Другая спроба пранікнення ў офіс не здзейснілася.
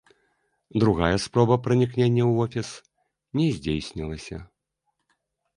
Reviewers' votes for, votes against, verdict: 1, 2, rejected